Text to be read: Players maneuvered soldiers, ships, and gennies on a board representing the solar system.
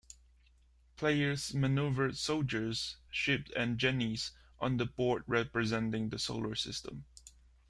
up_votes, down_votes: 2, 1